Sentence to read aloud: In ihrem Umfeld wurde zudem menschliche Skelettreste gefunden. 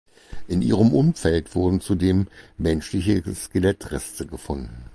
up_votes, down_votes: 0, 4